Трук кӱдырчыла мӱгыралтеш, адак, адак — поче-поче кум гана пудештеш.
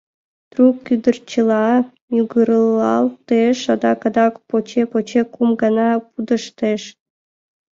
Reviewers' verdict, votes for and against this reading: accepted, 3, 1